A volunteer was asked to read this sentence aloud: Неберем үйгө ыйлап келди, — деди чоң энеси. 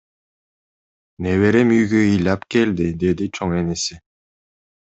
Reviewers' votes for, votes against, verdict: 2, 0, accepted